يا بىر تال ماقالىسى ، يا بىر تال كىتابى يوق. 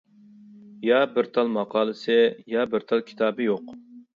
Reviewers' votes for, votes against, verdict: 2, 0, accepted